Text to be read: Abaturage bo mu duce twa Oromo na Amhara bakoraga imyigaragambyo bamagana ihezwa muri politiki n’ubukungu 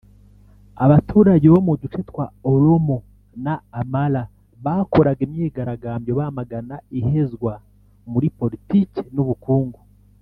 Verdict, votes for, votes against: rejected, 0, 2